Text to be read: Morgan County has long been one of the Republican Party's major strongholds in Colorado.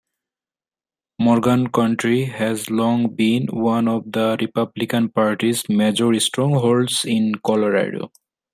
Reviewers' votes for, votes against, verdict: 1, 2, rejected